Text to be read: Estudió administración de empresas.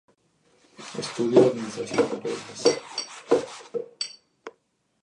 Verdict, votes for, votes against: rejected, 0, 2